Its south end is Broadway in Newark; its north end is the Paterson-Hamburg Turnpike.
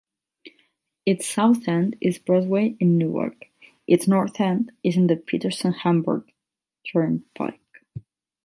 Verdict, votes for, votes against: rejected, 4, 4